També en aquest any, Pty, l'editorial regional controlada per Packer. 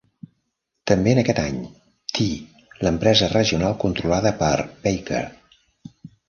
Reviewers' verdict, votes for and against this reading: rejected, 0, 2